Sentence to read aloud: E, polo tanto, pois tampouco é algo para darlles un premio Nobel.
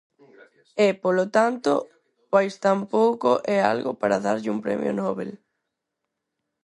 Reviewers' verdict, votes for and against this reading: rejected, 0, 4